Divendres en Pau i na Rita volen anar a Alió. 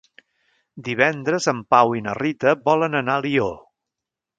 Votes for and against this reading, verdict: 1, 2, rejected